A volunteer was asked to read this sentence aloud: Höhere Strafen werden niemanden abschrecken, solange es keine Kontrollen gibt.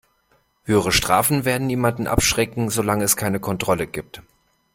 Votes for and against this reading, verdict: 1, 2, rejected